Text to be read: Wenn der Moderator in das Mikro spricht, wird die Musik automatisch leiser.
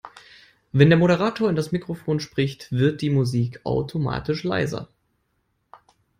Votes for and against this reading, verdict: 0, 2, rejected